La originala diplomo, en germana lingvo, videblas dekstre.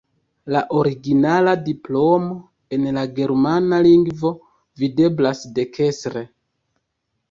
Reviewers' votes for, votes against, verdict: 0, 2, rejected